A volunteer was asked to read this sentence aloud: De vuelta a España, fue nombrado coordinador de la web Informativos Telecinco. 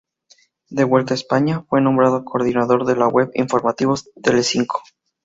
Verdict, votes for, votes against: accepted, 4, 0